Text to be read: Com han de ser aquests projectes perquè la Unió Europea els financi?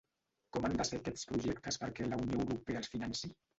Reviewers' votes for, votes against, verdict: 1, 2, rejected